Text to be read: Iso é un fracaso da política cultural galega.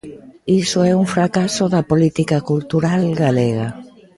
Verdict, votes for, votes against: accepted, 2, 0